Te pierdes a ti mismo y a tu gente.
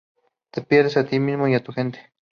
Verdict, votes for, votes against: accepted, 2, 0